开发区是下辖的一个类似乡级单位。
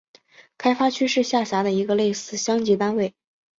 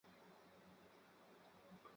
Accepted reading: first